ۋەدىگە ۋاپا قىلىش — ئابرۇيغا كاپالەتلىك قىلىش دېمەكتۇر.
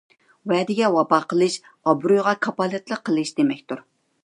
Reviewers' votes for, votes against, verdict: 2, 0, accepted